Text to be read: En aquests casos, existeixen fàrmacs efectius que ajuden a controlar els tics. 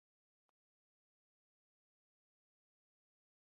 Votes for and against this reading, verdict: 0, 2, rejected